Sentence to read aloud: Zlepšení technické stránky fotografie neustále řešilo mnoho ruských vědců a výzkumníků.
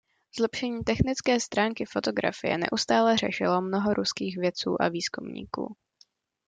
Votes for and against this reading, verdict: 2, 0, accepted